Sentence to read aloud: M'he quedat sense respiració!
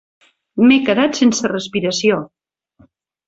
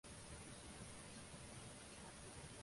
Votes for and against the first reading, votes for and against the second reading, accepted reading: 3, 0, 0, 2, first